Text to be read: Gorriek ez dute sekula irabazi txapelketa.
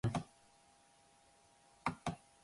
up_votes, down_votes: 0, 2